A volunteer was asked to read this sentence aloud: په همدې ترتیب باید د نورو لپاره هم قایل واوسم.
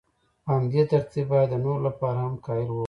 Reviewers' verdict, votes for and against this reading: accepted, 2, 0